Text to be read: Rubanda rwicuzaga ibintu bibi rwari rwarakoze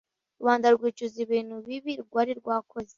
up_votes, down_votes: 0, 2